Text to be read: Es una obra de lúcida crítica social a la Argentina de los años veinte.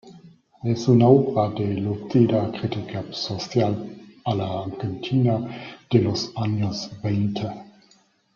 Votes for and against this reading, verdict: 0, 2, rejected